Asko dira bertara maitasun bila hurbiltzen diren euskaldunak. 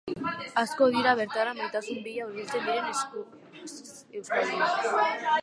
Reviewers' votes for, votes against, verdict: 0, 3, rejected